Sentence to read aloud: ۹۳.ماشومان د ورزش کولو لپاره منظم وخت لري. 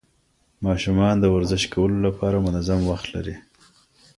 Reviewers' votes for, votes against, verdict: 0, 2, rejected